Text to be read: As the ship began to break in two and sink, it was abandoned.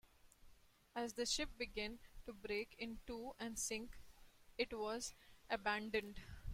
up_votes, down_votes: 2, 0